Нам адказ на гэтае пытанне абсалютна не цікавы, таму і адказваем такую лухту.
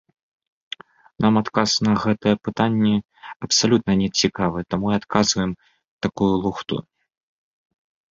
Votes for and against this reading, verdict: 2, 0, accepted